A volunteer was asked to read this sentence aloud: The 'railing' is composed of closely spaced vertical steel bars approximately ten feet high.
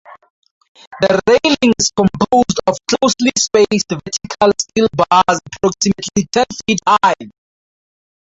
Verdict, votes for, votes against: rejected, 0, 4